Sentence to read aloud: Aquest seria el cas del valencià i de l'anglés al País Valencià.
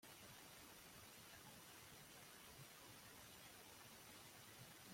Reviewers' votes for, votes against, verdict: 0, 2, rejected